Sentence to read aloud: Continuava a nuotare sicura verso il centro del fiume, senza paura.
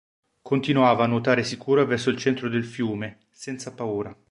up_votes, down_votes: 2, 0